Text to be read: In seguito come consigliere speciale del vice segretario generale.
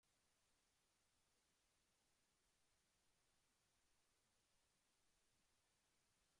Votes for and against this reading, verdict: 0, 2, rejected